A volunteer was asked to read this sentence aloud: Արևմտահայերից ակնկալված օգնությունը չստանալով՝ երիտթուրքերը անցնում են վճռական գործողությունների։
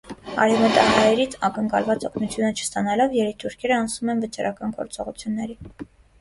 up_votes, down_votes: 0, 2